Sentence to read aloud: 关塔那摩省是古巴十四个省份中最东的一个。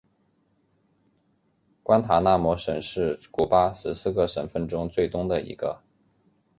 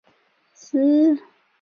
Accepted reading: first